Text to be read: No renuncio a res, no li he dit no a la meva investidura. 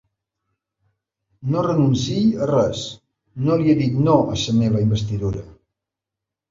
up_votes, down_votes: 0, 2